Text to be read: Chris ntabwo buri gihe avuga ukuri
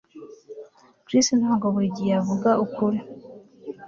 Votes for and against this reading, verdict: 2, 0, accepted